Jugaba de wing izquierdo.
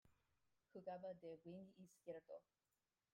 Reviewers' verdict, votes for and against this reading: rejected, 0, 2